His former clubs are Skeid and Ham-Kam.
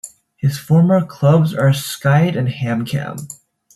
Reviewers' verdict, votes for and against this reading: rejected, 0, 2